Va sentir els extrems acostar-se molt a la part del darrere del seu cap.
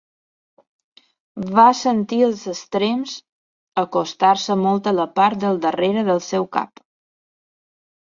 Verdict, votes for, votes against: accepted, 4, 0